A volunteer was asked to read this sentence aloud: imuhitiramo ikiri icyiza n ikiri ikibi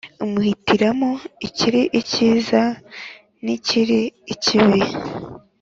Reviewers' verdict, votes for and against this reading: accepted, 5, 0